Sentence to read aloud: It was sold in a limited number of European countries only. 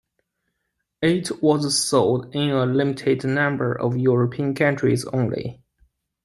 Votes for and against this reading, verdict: 2, 1, accepted